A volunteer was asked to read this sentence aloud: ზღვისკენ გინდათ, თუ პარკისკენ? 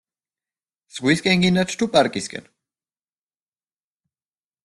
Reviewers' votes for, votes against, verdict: 1, 2, rejected